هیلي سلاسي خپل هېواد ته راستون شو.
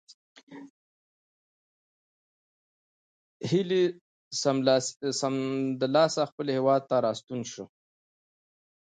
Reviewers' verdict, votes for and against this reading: rejected, 0, 2